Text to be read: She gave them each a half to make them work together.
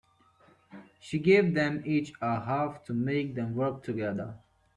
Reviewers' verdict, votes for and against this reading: accepted, 4, 1